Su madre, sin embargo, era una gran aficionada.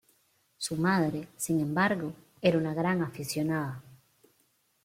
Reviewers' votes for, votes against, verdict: 1, 2, rejected